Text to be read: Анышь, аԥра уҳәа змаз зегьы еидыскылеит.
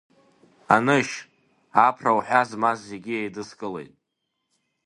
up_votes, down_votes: 1, 2